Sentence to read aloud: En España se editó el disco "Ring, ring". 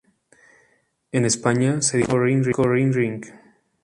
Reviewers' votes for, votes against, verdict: 0, 2, rejected